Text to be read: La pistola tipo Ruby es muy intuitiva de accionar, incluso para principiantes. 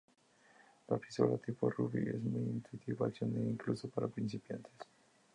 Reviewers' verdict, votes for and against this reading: rejected, 0, 2